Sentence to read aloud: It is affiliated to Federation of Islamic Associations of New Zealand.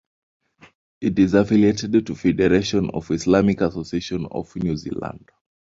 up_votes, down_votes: 1, 2